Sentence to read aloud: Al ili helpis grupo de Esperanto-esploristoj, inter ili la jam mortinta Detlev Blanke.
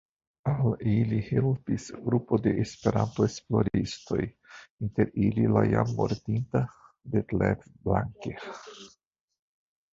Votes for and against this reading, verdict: 1, 2, rejected